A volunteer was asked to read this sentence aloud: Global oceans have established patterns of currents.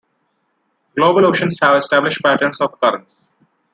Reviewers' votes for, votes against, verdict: 2, 1, accepted